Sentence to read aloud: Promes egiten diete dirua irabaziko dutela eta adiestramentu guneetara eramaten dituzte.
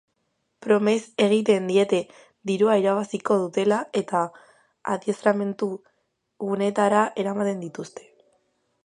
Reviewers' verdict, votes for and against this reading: accepted, 3, 0